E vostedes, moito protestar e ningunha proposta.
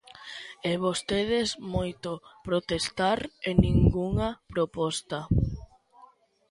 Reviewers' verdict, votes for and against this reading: accepted, 2, 0